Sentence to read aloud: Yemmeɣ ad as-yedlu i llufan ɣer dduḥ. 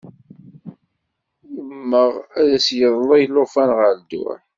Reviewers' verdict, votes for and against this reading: rejected, 1, 2